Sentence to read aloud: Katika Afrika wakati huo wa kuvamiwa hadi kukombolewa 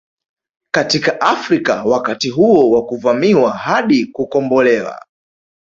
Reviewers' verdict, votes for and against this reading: rejected, 1, 2